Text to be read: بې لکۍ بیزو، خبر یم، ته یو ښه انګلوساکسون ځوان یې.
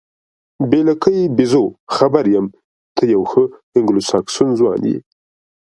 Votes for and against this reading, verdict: 2, 0, accepted